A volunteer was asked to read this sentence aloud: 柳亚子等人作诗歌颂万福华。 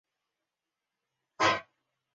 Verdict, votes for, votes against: rejected, 2, 4